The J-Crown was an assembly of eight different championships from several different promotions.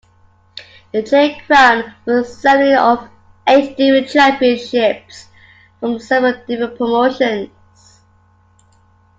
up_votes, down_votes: 1, 2